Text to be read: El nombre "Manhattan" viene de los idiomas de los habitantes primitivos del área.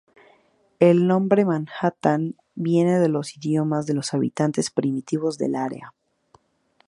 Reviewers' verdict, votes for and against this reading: accepted, 2, 0